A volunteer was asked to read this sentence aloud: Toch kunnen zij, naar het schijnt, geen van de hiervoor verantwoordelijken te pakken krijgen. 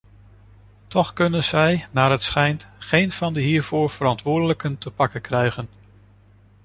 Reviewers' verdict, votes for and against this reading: accepted, 2, 1